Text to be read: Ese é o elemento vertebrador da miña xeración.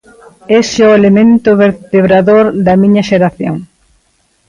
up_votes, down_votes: 3, 1